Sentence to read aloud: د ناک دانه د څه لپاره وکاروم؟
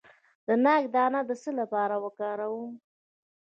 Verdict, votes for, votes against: rejected, 1, 2